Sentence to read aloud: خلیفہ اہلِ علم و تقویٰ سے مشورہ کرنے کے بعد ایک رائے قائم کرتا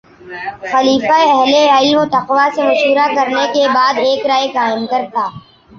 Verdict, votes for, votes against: accepted, 2, 1